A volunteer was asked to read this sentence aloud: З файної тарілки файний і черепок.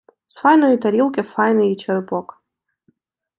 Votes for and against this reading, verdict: 2, 0, accepted